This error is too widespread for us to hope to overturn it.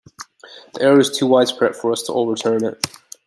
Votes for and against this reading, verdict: 0, 2, rejected